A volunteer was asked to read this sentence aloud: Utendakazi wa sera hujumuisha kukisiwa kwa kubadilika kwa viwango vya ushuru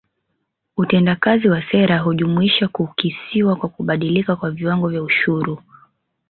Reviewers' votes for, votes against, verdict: 0, 2, rejected